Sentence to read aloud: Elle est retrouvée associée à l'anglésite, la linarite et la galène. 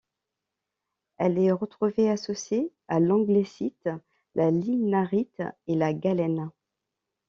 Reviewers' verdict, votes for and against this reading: accepted, 2, 0